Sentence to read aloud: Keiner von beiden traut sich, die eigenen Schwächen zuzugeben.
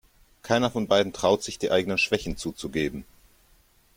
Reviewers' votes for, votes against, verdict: 2, 0, accepted